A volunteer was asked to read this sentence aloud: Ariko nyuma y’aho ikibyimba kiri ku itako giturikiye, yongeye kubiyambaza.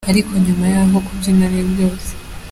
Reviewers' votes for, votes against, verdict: 0, 2, rejected